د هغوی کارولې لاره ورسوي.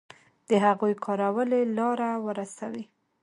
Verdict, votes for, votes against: accepted, 2, 0